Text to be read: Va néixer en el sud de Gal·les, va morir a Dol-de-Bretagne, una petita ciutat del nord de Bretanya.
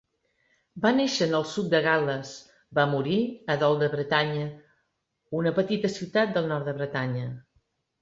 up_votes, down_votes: 2, 0